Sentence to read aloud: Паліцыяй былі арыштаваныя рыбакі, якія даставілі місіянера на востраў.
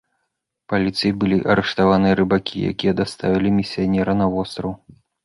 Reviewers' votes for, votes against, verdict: 2, 1, accepted